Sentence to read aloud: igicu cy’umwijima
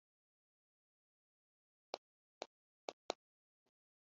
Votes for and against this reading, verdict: 1, 2, rejected